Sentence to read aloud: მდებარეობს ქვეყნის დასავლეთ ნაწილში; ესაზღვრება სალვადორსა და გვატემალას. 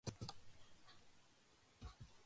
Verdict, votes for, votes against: rejected, 0, 2